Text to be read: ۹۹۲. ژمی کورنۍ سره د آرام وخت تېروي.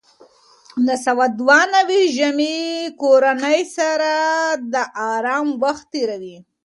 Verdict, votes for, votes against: rejected, 0, 2